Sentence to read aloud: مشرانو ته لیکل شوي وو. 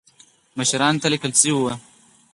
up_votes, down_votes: 2, 4